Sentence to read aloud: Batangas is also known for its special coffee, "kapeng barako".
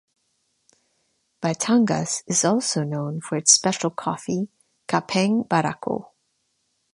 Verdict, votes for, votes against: accepted, 2, 0